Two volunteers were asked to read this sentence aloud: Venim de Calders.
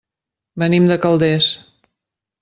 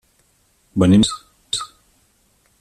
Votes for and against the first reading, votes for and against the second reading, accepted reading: 2, 0, 1, 2, first